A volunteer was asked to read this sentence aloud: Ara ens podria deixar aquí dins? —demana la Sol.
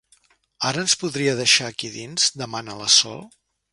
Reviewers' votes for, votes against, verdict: 3, 0, accepted